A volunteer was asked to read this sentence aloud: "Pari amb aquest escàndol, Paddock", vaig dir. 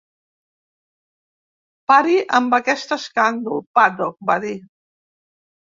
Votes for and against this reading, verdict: 0, 2, rejected